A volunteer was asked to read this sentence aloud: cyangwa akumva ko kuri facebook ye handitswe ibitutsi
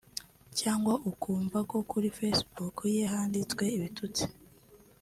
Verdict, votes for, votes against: accepted, 2, 1